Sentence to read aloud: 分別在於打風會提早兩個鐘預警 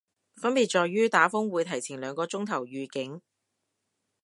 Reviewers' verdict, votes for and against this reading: rejected, 2, 2